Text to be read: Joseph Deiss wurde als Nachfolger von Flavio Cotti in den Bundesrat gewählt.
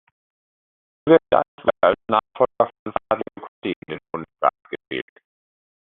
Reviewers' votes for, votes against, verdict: 0, 2, rejected